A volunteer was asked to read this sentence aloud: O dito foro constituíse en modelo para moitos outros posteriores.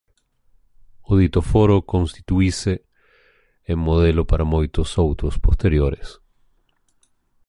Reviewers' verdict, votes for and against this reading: rejected, 0, 2